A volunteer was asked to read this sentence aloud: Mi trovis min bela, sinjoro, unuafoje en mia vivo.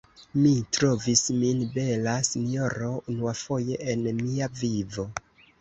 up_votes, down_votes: 2, 1